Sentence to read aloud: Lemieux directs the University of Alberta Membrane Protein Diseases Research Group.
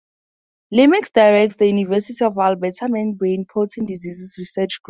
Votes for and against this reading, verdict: 2, 2, rejected